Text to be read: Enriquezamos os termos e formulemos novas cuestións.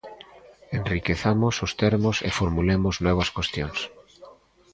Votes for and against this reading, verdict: 0, 2, rejected